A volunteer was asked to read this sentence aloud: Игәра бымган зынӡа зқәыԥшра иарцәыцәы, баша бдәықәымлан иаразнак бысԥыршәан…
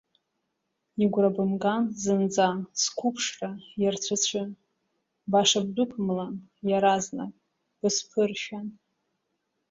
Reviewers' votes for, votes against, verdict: 1, 2, rejected